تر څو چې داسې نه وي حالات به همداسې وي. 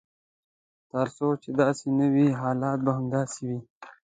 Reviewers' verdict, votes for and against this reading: accepted, 2, 0